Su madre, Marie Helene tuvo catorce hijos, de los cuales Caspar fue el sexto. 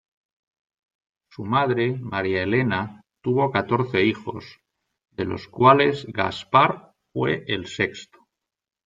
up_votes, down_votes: 0, 2